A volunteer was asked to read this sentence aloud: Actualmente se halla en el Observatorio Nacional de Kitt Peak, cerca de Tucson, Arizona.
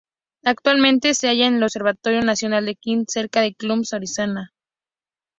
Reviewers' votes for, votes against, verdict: 2, 0, accepted